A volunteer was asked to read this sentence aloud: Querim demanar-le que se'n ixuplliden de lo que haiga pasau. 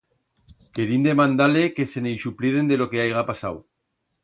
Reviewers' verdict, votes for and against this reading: rejected, 1, 2